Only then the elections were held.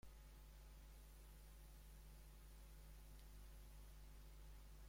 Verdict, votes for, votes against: rejected, 0, 2